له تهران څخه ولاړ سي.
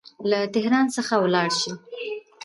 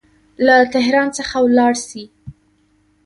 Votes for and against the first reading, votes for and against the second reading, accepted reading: 0, 2, 2, 1, second